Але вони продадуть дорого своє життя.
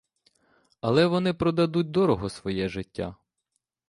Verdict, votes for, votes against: accepted, 2, 1